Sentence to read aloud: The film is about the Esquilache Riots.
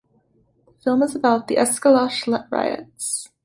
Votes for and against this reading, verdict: 0, 2, rejected